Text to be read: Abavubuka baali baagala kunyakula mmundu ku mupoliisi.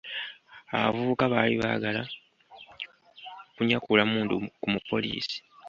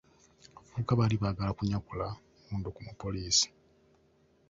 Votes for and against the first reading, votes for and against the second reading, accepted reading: 1, 2, 2, 0, second